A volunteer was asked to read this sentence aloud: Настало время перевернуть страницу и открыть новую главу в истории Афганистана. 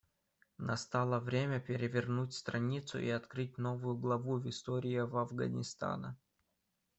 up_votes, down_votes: 1, 2